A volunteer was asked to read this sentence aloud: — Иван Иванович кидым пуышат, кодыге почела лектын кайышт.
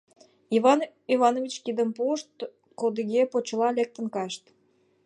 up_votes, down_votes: 2, 1